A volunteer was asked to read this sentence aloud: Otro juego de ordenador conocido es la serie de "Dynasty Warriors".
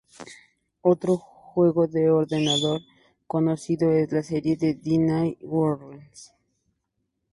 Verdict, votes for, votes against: rejected, 0, 2